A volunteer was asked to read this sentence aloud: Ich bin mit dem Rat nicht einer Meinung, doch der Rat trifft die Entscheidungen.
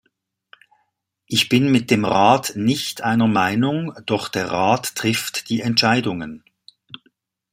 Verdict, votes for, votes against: accepted, 2, 0